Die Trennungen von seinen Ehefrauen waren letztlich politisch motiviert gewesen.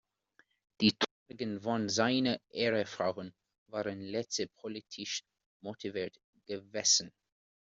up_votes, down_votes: 0, 2